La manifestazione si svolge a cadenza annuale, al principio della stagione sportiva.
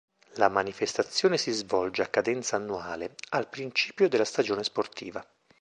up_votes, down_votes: 2, 0